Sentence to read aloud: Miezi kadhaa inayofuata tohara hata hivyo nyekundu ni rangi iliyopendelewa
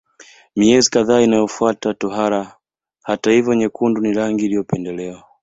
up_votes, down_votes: 1, 2